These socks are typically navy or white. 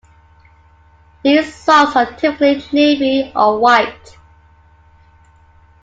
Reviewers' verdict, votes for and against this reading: rejected, 0, 2